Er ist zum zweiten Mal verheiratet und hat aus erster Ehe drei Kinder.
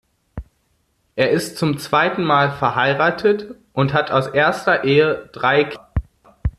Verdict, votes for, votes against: rejected, 0, 2